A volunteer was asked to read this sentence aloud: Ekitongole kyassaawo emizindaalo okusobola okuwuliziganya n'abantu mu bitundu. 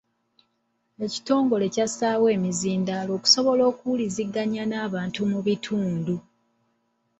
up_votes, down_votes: 2, 0